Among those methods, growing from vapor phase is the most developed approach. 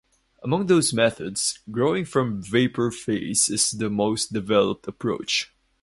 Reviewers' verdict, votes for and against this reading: accepted, 4, 0